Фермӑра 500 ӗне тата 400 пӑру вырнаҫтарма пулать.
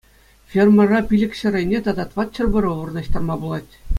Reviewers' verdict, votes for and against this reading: rejected, 0, 2